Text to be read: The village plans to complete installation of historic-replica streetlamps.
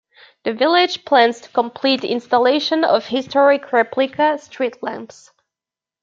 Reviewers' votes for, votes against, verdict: 2, 0, accepted